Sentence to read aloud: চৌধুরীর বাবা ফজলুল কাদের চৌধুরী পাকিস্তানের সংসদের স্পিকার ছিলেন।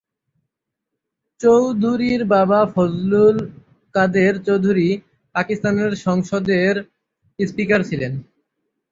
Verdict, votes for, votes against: accepted, 3, 0